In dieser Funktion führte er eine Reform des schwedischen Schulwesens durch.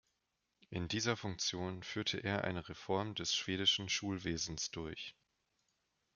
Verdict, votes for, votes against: accepted, 2, 0